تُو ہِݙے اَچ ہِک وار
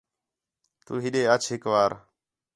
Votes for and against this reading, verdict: 4, 0, accepted